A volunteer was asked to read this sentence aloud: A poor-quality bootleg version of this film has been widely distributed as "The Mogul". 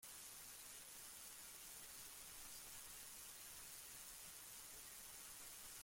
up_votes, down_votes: 0, 2